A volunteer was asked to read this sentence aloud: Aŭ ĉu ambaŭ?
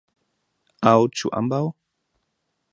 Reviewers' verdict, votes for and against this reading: accepted, 2, 0